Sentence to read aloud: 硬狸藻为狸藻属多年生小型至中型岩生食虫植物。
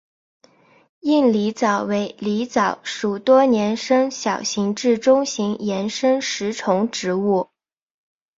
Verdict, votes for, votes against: accepted, 2, 0